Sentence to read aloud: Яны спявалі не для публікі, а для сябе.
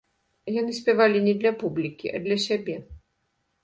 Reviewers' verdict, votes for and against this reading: accepted, 2, 0